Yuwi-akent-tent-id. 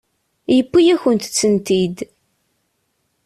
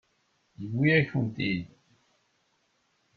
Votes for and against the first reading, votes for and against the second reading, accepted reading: 2, 1, 1, 2, first